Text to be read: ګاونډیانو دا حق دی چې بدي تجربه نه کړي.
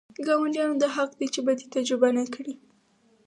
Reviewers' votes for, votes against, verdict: 4, 0, accepted